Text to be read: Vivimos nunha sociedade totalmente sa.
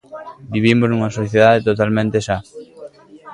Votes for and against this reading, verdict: 2, 0, accepted